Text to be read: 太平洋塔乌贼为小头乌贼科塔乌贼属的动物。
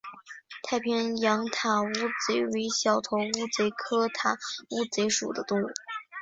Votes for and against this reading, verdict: 2, 0, accepted